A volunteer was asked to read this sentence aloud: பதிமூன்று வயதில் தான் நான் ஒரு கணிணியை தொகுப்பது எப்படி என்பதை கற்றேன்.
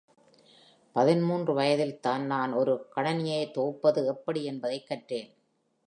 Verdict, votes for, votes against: accepted, 2, 0